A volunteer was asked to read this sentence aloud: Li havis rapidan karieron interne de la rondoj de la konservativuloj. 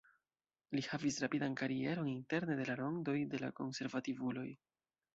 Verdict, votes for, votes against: accepted, 2, 0